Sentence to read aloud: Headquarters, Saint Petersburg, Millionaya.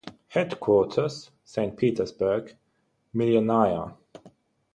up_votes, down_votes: 0, 3